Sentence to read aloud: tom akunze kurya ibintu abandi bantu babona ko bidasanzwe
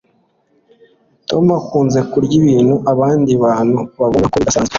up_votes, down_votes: 1, 2